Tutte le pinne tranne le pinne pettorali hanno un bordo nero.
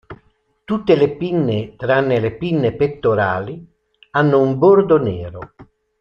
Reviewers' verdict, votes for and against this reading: accepted, 2, 0